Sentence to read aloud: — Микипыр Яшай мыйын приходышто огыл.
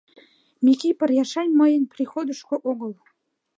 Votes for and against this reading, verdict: 1, 2, rejected